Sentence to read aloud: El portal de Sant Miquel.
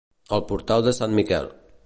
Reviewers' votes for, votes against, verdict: 2, 0, accepted